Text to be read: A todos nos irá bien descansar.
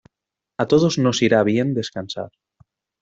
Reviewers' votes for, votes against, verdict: 2, 0, accepted